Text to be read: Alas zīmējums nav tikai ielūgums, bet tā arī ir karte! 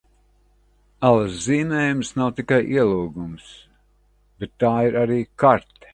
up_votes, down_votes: 1, 2